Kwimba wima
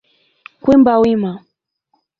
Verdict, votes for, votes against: rejected, 0, 2